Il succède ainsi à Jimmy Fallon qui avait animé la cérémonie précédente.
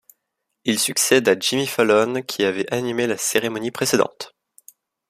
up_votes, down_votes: 0, 2